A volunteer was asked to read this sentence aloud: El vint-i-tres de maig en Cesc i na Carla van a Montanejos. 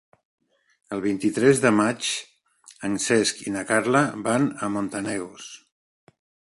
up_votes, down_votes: 1, 2